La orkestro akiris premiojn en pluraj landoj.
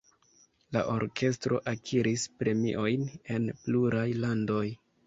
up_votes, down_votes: 2, 0